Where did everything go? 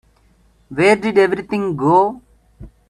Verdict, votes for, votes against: accepted, 2, 0